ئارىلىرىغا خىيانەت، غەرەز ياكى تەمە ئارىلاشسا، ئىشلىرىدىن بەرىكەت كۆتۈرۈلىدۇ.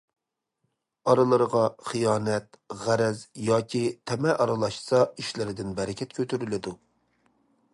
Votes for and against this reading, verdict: 2, 0, accepted